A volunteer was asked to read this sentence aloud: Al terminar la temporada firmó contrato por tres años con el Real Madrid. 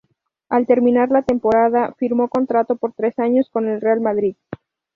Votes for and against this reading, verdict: 0, 2, rejected